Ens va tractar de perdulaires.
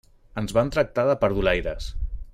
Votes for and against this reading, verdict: 0, 2, rejected